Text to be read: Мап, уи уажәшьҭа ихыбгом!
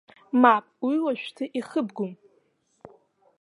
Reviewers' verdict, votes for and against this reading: rejected, 0, 2